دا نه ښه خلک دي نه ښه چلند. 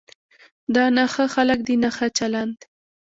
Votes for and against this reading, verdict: 2, 1, accepted